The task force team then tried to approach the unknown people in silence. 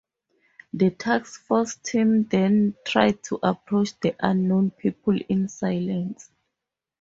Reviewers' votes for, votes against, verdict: 4, 0, accepted